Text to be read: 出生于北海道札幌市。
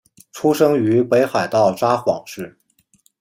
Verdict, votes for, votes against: rejected, 1, 2